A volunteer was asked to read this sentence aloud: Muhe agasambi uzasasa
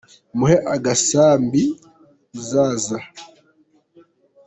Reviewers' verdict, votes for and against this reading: rejected, 1, 2